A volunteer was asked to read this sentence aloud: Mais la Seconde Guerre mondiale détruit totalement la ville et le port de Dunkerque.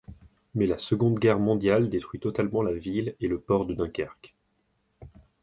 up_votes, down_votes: 2, 0